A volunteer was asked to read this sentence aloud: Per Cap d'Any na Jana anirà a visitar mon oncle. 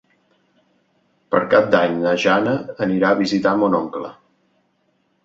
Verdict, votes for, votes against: accepted, 3, 0